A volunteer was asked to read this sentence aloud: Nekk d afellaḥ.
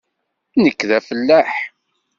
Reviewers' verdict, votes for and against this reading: accepted, 2, 0